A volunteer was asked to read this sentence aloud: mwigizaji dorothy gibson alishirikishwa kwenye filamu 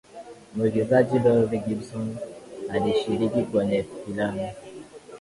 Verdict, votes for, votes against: accepted, 2, 1